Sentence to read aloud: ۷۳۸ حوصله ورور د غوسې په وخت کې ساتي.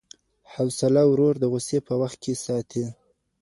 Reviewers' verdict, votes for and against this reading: rejected, 0, 2